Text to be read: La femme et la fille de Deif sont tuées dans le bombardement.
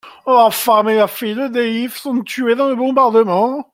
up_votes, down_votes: 2, 1